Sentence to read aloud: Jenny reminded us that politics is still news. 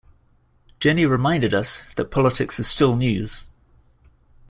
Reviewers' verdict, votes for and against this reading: accepted, 2, 0